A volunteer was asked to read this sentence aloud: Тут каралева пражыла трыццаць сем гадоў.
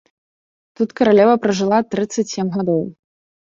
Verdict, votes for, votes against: accepted, 2, 0